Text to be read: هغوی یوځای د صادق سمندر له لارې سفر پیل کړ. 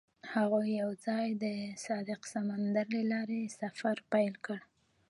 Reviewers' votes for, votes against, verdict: 1, 2, rejected